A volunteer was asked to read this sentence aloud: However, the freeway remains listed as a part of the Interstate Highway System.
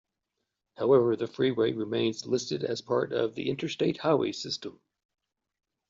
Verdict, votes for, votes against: accepted, 2, 1